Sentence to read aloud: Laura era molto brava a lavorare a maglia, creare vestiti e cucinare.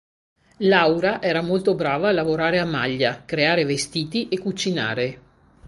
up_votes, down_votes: 2, 0